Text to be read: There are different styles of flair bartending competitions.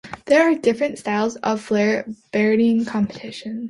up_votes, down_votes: 0, 2